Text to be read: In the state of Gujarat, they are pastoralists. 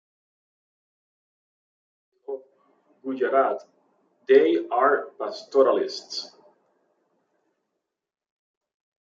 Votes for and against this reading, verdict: 1, 2, rejected